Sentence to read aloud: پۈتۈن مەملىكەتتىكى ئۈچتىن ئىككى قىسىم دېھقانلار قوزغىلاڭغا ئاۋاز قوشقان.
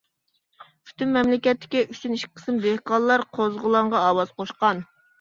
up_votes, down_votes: 2, 0